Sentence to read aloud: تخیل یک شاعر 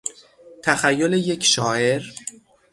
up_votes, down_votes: 6, 0